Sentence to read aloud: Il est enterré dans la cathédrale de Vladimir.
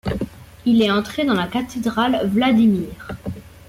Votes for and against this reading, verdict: 0, 2, rejected